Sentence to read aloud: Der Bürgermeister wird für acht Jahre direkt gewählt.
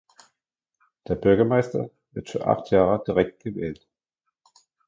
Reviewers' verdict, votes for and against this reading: accepted, 2, 0